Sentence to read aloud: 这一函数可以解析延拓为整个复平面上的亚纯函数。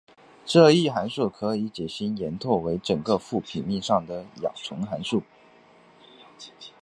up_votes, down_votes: 4, 0